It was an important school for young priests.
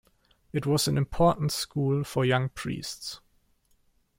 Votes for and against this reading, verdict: 2, 0, accepted